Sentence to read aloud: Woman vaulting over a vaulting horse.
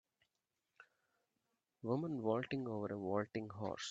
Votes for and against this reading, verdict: 2, 0, accepted